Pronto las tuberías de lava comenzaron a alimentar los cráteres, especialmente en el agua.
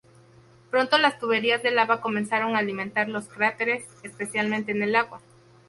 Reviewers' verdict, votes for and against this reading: accepted, 2, 0